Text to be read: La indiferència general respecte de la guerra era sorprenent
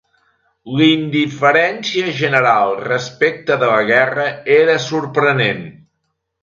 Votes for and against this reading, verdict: 1, 2, rejected